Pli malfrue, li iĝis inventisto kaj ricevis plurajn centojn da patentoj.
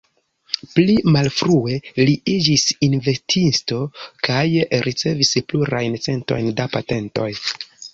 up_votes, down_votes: 2, 0